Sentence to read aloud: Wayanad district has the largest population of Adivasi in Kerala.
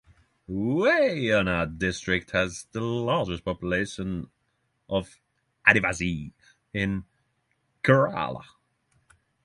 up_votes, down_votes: 3, 3